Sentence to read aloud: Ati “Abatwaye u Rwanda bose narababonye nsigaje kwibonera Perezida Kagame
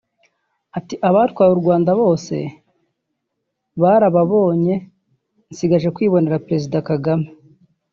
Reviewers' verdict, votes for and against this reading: rejected, 0, 3